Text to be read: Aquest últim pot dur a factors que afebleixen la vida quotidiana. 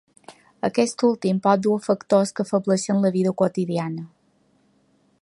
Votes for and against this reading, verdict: 1, 2, rejected